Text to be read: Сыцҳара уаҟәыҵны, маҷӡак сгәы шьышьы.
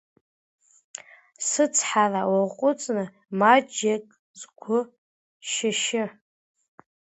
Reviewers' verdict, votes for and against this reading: rejected, 0, 2